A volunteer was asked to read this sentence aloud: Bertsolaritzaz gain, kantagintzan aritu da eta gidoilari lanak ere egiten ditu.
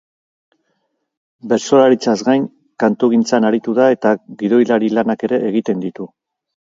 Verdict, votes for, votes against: rejected, 2, 6